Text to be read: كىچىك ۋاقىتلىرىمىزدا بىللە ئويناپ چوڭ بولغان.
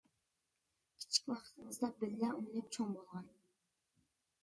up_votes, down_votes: 0, 2